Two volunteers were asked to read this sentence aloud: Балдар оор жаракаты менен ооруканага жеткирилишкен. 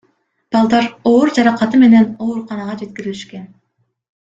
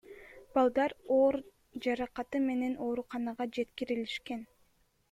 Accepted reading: first